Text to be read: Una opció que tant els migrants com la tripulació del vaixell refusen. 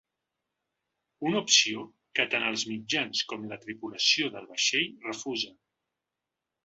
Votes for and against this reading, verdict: 1, 2, rejected